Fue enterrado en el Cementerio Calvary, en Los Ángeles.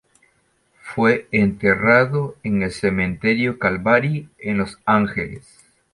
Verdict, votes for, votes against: accepted, 2, 0